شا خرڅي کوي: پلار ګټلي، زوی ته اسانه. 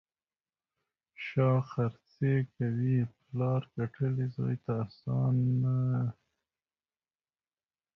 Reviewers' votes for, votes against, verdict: 2, 1, accepted